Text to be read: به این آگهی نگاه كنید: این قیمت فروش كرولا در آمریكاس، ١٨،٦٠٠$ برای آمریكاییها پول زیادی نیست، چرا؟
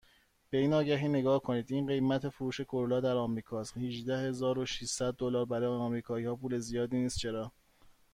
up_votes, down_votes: 0, 2